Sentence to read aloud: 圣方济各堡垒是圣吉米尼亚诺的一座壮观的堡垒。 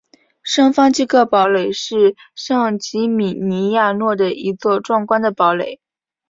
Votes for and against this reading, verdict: 2, 0, accepted